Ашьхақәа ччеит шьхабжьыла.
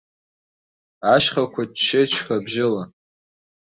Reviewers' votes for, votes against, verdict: 1, 2, rejected